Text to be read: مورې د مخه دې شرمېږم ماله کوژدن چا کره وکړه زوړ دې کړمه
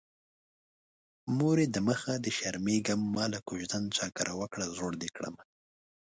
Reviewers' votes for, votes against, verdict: 2, 0, accepted